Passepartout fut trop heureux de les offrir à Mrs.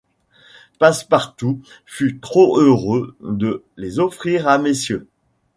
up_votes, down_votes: 1, 2